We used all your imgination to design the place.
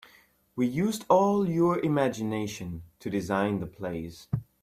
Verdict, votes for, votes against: accepted, 3, 0